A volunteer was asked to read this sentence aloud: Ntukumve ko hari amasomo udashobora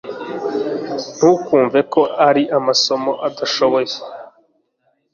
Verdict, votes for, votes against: rejected, 0, 2